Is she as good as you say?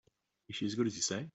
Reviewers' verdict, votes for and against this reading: rejected, 1, 2